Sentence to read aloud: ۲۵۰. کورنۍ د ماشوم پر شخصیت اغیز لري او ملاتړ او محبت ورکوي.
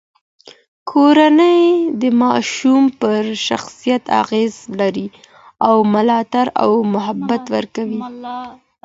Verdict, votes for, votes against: rejected, 0, 2